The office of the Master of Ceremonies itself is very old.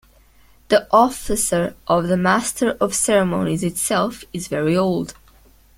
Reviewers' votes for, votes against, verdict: 1, 2, rejected